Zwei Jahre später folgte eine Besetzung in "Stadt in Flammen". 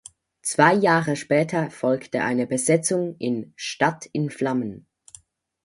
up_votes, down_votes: 4, 0